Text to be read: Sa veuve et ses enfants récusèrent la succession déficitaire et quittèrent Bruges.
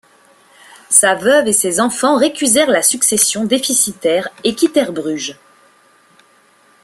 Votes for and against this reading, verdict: 2, 1, accepted